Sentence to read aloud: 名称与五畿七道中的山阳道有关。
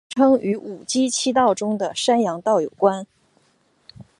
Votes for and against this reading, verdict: 0, 2, rejected